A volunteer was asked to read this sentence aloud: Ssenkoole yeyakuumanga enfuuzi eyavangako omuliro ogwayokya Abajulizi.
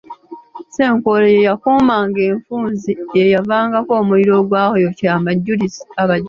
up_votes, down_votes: 1, 2